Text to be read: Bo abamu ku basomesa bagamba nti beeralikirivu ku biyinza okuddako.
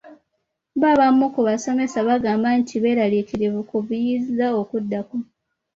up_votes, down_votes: 2, 0